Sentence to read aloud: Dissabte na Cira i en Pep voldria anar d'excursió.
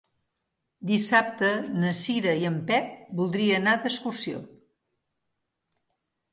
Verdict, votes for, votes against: accepted, 2, 0